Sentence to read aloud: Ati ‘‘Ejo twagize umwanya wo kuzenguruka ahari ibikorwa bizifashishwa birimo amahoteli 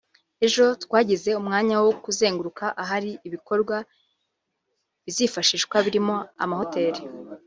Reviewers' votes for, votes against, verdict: 3, 1, accepted